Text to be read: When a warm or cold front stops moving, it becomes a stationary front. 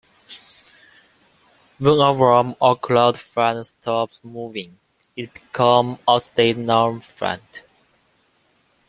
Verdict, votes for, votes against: rejected, 0, 2